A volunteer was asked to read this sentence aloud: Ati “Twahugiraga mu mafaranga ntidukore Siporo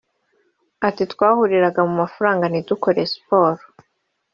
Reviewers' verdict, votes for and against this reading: rejected, 0, 2